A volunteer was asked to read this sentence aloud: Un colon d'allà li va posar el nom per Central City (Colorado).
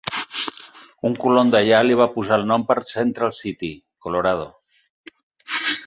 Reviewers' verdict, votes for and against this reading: rejected, 0, 4